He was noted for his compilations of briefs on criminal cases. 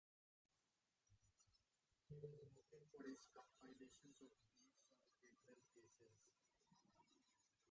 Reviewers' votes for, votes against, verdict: 0, 2, rejected